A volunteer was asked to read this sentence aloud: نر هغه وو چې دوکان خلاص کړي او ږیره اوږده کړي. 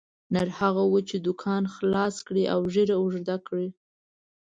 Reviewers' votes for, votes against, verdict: 3, 0, accepted